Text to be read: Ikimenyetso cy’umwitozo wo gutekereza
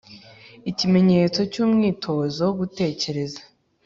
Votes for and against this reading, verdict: 2, 0, accepted